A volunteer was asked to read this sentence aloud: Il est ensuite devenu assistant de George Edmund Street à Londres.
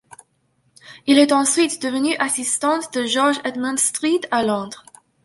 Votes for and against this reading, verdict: 0, 2, rejected